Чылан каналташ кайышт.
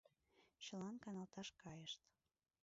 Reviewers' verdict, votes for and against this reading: rejected, 1, 2